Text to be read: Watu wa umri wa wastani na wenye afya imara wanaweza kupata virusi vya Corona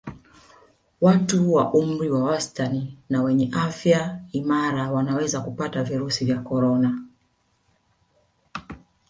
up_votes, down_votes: 1, 2